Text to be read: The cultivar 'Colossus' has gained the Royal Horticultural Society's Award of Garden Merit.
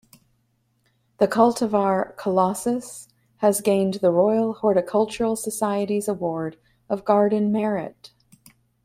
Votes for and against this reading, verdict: 2, 0, accepted